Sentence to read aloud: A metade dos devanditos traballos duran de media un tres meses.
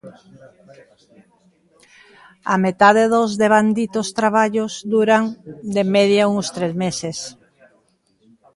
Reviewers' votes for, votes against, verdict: 1, 2, rejected